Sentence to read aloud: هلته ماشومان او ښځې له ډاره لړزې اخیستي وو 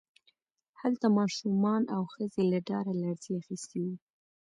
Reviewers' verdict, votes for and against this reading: accepted, 3, 0